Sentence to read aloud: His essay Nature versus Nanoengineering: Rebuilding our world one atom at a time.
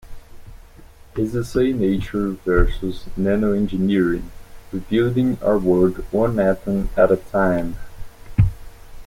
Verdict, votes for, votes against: accepted, 2, 0